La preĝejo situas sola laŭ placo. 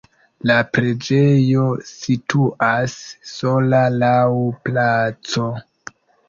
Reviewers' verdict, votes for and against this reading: rejected, 1, 2